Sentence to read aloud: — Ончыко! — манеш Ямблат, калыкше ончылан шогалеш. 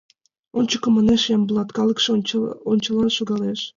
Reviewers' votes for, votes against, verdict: 2, 0, accepted